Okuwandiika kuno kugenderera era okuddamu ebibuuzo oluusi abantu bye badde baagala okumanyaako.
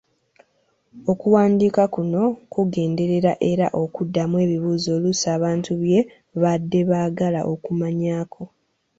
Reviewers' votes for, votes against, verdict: 2, 0, accepted